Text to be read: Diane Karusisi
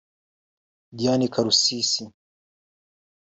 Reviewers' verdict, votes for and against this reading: accepted, 2, 0